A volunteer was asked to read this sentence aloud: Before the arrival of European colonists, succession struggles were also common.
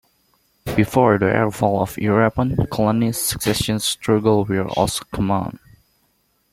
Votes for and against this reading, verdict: 1, 2, rejected